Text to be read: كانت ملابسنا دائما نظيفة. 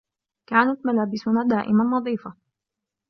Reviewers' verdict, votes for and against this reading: accepted, 2, 0